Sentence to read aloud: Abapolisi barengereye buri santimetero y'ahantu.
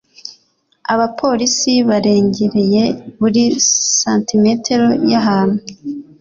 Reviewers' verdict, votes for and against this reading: accepted, 2, 0